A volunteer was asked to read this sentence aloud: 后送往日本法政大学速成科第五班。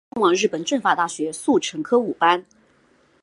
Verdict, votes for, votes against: rejected, 0, 2